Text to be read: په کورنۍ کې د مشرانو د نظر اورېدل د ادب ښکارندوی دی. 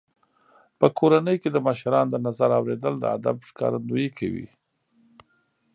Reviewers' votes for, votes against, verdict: 1, 2, rejected